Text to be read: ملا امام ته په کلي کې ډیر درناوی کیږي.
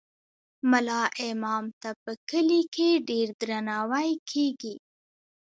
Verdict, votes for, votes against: rejected, 1, 2